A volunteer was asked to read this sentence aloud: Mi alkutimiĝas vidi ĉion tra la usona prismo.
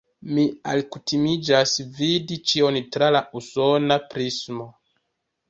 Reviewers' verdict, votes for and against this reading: rejected, 1, 2